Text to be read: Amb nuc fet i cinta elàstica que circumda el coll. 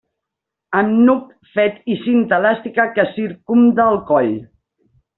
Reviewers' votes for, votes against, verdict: 1, 2, rejected